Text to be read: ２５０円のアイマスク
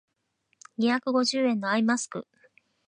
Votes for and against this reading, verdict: 0, 2, rejected